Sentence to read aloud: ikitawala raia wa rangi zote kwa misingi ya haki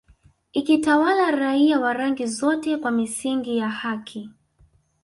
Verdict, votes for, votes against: accepted, 2, 0